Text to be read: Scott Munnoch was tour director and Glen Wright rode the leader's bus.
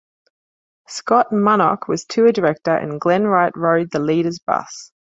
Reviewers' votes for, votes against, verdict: 2, 0, accepted